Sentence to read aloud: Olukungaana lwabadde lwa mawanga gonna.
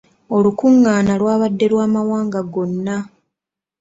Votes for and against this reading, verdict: 2, 0, accepted